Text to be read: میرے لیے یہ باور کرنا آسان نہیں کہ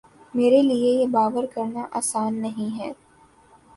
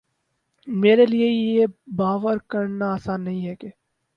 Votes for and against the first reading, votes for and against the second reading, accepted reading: 2, 1, 2, 4, first